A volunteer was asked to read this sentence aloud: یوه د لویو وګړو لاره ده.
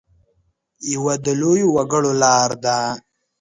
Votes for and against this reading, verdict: 0, 2, rejected